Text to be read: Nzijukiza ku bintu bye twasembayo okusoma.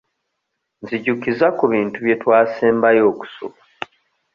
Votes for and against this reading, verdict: 1, 2, rejected